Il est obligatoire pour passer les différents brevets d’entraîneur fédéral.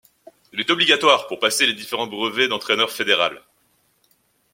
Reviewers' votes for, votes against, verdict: 2, 0, accepted